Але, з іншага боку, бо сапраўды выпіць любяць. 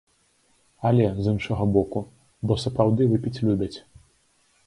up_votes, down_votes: 2, 0